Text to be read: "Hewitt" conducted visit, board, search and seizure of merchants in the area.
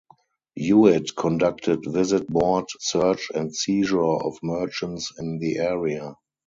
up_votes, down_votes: 0, 2